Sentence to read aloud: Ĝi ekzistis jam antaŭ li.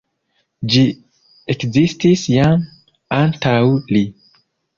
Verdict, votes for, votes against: rejected, 1, 2